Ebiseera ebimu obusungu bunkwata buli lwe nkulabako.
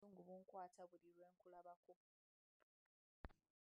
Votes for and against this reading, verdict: 0, 2, rejected